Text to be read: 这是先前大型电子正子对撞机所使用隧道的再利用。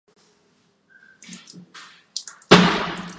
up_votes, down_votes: 0, 5